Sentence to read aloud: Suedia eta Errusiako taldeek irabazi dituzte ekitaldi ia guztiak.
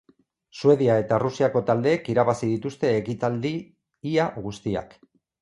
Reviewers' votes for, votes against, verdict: 2, 2, rejected